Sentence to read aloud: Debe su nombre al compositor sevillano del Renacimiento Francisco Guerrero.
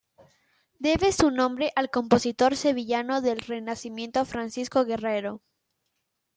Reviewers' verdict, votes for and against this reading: accepted, 2, 0